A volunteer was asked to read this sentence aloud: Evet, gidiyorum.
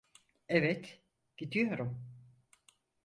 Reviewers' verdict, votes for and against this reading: accepted, 4, 0